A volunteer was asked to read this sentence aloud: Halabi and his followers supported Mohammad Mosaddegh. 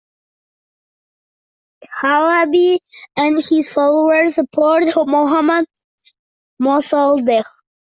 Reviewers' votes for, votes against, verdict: 2, 0, accepted